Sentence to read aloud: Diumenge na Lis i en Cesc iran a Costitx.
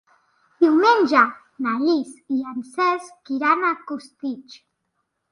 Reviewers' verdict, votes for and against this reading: accepted, 2, 0